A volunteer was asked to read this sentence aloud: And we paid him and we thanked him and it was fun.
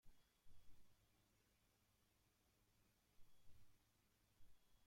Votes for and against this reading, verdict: 0, 2, rejected